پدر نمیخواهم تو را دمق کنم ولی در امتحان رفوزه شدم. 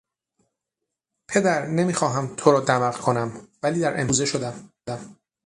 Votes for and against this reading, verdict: 0, 6, rejected